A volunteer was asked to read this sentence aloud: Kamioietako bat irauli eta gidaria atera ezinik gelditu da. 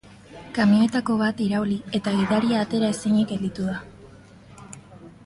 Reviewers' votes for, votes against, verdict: 2, 1, accepted